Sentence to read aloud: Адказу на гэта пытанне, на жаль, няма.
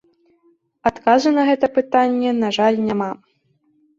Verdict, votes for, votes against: accepted, 2, 0